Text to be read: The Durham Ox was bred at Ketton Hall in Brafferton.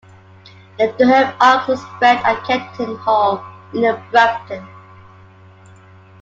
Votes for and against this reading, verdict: 1, 2, rejected